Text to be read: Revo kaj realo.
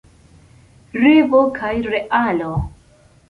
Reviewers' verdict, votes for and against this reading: accepted, 3, 0